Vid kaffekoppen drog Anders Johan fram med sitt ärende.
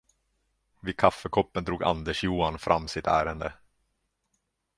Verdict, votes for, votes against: rejected, 1, 2